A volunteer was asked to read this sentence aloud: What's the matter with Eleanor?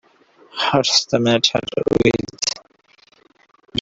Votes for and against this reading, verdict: 0, 2, rejected